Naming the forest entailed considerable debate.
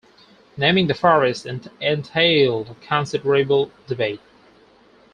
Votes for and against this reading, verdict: 0, 4, rejected